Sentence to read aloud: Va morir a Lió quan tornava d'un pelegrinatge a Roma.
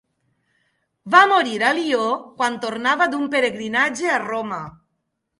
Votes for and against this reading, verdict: 1, 2, rejected